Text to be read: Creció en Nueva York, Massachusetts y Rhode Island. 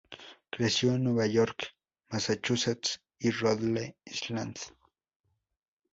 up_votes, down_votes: 0, 2